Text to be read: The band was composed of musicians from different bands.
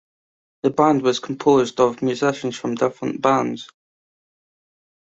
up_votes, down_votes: 2, 0